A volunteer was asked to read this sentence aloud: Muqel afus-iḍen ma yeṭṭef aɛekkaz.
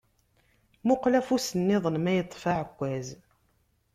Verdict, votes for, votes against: rejected, 1, 2